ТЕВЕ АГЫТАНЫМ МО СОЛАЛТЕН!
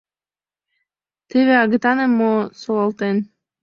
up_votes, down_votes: 2, 0